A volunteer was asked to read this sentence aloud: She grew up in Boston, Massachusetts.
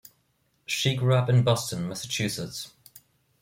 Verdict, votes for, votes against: accepted, 2, 1